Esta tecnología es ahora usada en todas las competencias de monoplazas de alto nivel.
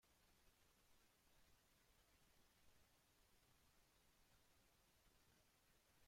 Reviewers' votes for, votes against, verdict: 0, 2, rejected